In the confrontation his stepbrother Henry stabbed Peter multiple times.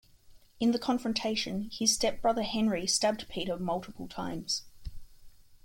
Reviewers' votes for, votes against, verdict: 1, 2, rejected